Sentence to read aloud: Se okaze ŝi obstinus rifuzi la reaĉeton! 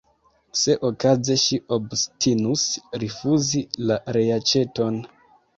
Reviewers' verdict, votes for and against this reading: accepted, 2, 0